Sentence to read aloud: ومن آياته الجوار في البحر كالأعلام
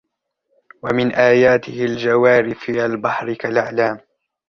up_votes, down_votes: 1, 2